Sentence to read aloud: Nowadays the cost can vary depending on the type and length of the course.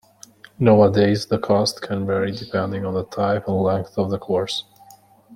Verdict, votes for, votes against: accepted, 2, 0